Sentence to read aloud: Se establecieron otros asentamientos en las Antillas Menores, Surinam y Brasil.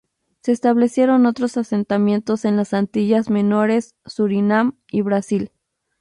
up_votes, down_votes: 0, 2